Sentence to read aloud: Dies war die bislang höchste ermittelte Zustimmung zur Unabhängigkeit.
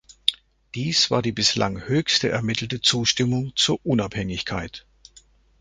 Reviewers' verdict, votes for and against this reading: accepted, 2, 0